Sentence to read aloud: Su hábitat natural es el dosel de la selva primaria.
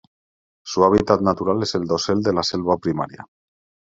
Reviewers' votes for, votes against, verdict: 2, 0, accepted